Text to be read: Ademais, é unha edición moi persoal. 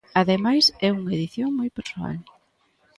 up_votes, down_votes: 3, 0